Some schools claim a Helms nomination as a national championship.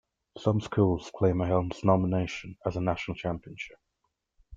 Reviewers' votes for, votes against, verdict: 0, 2, rejected